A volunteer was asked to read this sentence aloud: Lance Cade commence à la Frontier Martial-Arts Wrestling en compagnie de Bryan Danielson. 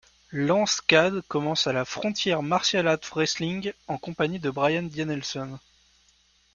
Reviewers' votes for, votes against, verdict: 1, 2, rejected